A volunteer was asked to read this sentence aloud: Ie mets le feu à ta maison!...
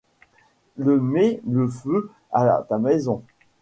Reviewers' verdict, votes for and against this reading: accepted, 2, 1